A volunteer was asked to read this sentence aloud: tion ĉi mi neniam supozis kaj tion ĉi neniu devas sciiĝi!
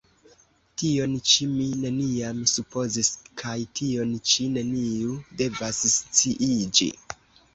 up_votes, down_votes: 2, 1